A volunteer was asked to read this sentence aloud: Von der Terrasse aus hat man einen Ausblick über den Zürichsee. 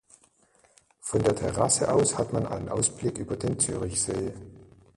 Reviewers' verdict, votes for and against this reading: rejected, 1, 2